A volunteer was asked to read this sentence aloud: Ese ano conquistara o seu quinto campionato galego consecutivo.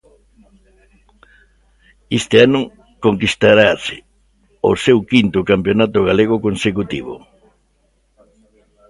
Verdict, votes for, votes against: rejected, 1, 2